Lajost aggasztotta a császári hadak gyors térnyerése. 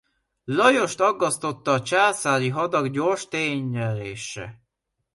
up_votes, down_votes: 2, 0